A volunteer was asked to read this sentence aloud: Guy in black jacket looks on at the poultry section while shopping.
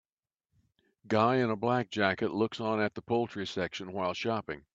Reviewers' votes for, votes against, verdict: 1, 2, rejected